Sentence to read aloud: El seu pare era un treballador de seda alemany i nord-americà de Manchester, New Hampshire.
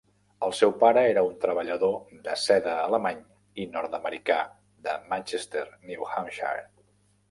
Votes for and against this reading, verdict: 3, 0, accepted